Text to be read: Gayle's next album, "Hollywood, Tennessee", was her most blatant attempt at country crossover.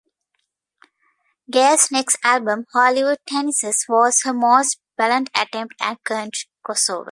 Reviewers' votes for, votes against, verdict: 1, 2, rejected